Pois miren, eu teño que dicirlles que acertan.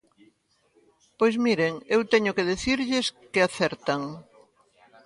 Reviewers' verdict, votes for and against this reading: rejected, 0, 2